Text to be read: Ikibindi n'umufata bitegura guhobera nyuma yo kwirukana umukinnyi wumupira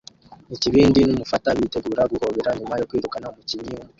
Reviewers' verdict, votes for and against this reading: rejected, 1, 2